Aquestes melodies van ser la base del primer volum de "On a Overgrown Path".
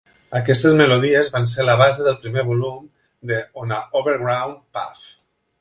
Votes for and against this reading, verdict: 2, 0, accepted